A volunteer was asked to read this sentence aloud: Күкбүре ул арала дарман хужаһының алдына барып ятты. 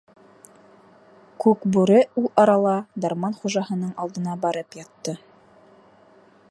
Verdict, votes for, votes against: accepted, 2, 0